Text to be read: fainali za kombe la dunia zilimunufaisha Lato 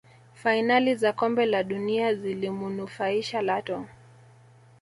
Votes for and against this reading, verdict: 0, 2, rejected